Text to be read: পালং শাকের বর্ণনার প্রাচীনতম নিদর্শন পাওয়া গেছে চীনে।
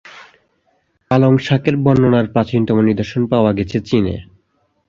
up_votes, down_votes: 2, 0